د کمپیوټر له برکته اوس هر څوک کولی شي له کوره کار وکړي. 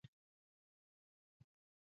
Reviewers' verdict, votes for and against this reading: rejected, 0, 2